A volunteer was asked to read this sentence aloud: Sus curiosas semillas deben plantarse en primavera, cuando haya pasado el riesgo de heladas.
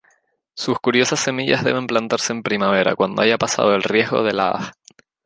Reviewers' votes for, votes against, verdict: 0, 2, rejected